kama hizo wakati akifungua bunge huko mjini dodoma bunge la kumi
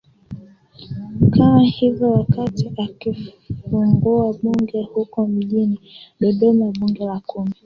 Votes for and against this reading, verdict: 1, 2, rejected